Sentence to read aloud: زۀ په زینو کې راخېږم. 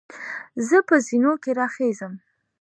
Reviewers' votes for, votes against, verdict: 2, 1, accepted